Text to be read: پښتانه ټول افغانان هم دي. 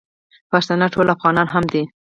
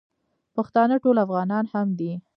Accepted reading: first